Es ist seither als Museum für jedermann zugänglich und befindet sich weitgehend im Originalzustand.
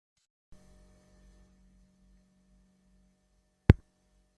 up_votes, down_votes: 0, 2